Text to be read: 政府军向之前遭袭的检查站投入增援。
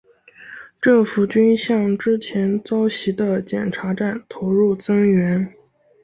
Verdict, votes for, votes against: accepted, 5, 0